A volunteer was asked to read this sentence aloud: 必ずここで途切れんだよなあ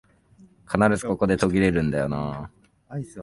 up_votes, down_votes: 1, 2